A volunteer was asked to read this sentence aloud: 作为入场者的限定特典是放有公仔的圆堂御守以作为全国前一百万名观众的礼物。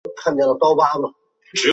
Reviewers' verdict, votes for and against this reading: rejected, 0, 2